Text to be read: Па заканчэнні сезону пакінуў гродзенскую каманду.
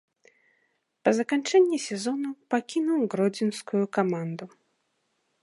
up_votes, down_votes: 0, 2